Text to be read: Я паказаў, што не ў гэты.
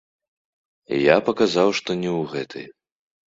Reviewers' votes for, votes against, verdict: 0, 2, rejected